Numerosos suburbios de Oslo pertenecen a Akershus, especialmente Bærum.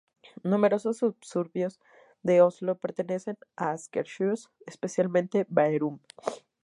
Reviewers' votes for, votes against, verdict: 0, 2, rejected